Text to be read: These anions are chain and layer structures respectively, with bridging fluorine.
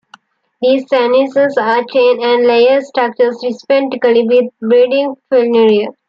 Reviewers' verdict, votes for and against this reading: rejected, 0, 2